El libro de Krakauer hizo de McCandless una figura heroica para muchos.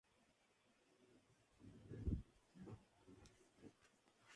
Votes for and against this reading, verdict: 0, 2, rejected